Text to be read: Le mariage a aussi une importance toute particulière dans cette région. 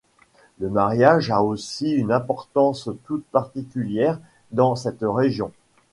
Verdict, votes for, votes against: accepted, 2, 0